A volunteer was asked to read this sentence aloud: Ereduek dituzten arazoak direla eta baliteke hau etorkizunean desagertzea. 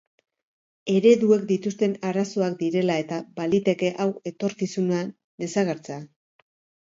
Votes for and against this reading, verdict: 0, 2, rejected